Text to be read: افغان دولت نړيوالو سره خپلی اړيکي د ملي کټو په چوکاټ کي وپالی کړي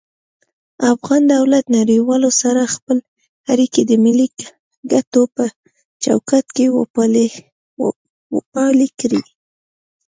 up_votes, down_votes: 2, 0